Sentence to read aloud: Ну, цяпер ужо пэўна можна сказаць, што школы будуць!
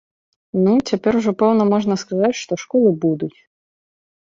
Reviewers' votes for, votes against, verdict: 2, 0, accepted